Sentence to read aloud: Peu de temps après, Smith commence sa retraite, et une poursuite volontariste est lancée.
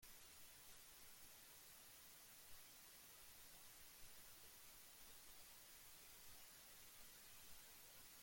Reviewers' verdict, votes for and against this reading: rejected, 0, 2